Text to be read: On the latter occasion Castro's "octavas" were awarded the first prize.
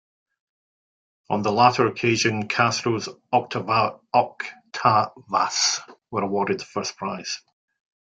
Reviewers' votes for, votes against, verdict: 0, 2, rejected